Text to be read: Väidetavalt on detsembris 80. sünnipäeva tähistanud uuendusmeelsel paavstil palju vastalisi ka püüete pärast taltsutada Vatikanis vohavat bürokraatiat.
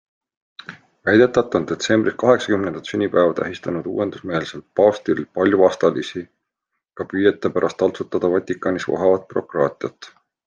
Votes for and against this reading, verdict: 0, 2, rejected